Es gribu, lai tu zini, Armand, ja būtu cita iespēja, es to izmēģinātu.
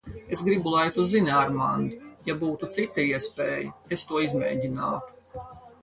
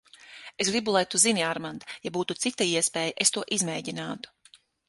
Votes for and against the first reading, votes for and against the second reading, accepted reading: 2, 4, 6, 0, second